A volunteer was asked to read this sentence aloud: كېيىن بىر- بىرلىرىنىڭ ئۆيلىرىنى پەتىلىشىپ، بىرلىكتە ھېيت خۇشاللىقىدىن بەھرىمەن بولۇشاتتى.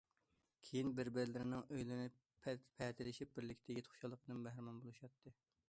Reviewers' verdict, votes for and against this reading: rejected, 0, 2